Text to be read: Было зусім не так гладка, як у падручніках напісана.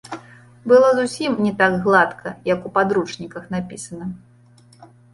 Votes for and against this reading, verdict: 1, 2, rejected